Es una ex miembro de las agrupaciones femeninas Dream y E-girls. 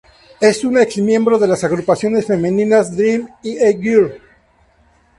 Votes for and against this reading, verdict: 0, 2, rejected